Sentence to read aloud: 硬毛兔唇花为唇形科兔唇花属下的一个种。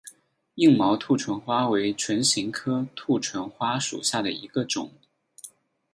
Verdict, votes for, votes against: accepted, 8, 0